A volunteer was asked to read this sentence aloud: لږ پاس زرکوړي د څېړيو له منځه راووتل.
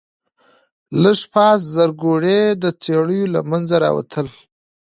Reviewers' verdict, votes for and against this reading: accepted, 2, 0